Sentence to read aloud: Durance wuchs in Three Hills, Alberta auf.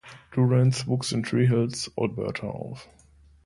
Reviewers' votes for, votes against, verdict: 2, 1, accepted